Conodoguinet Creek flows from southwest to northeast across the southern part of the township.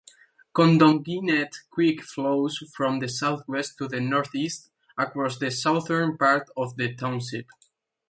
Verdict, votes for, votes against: rejected, 0, 2